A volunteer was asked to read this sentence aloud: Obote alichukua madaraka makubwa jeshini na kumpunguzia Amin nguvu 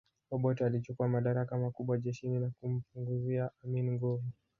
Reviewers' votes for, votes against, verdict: 2, 0, accepted